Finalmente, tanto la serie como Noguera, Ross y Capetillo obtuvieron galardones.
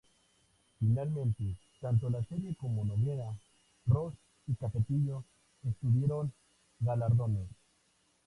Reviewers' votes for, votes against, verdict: 0, 2, rejected